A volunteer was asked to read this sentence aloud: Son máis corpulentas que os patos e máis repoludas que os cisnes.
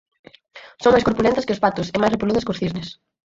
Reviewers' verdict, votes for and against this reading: rejected, 0, 2